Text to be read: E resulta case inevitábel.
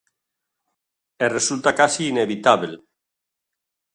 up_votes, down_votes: 2, 0